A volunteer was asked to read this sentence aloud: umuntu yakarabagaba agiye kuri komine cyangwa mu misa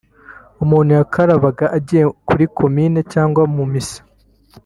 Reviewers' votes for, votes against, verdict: 0, 2, rejected